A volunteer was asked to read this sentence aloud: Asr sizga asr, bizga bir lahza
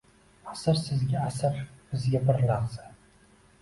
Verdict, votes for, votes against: accepted, 2, 0